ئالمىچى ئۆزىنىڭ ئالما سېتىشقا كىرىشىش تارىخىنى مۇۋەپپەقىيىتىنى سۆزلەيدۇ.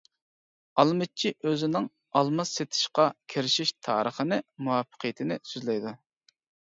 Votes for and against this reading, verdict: 2, 0, accepted